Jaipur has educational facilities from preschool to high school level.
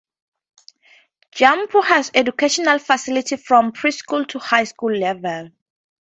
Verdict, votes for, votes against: rejected, 2, 2